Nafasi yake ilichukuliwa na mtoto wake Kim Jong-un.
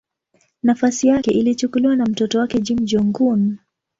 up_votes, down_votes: 9, 3